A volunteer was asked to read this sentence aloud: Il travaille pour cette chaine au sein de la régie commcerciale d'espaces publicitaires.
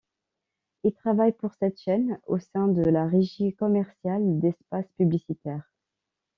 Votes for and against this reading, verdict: 2, 0, accepted